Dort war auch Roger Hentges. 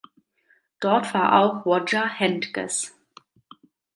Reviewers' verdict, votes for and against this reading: rejected, 1, 2